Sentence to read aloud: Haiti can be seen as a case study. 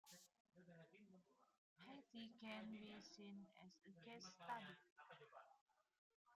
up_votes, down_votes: 0, 2